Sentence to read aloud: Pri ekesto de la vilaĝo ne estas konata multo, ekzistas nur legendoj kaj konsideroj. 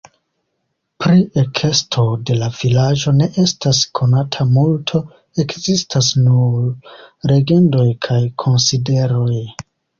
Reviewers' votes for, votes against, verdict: 2, 0, accepted